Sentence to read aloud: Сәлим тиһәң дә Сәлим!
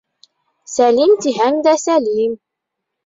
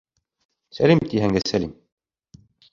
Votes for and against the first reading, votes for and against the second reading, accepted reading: 2, 0, 1, 2, first